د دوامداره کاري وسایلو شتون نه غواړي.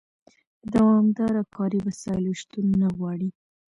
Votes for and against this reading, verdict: 2, 0, accepted